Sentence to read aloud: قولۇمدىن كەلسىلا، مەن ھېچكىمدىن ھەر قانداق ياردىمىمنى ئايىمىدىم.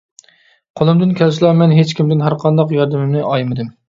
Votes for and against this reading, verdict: 3, 0, accepted